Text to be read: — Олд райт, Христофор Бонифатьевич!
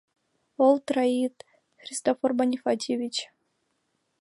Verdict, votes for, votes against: rejected, 2, 3